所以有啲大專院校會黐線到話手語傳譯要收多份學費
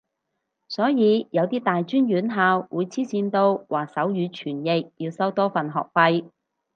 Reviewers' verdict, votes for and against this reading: accepted, 2, 0